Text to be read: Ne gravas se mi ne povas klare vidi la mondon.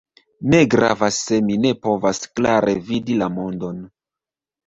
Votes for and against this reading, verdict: 1, 2, rejected